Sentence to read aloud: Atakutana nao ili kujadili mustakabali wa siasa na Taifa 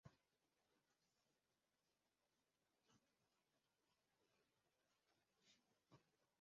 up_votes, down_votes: 0, 2